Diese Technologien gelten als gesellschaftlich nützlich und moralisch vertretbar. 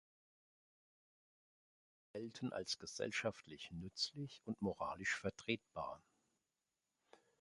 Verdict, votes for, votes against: rejected, 0, 2